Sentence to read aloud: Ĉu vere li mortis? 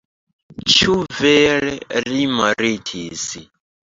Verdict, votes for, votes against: accepted, 2, 1